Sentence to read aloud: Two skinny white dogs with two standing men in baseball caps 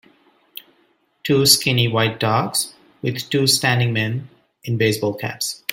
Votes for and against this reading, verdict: 2, 0, accepted